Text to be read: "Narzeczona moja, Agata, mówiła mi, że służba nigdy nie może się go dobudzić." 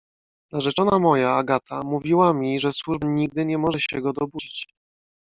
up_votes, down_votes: 2, 0